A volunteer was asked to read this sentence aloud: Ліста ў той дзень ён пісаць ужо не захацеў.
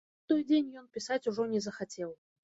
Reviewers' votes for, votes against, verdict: 0, 2, rejected